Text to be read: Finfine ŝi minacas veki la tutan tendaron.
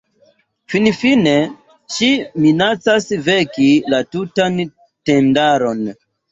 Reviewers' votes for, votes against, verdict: 2, 1, accepted